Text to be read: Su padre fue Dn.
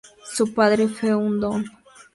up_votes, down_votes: 2, 0